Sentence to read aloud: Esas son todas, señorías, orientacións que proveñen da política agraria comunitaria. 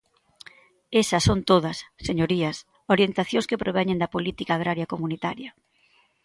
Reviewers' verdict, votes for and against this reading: accepted, 2, 0